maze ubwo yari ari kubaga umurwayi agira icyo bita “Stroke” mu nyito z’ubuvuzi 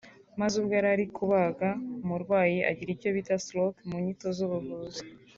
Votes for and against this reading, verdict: 3, 0, accepted